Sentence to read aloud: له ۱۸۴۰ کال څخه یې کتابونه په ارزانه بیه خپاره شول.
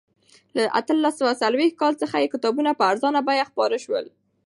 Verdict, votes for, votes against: rejected, 0, 2